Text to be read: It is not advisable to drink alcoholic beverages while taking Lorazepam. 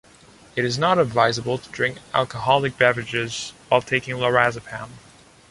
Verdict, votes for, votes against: accepted, 2, 0